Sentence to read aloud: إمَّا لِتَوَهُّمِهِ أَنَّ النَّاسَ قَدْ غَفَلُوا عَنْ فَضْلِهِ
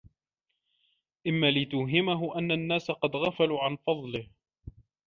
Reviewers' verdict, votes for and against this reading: rejected, 1, 2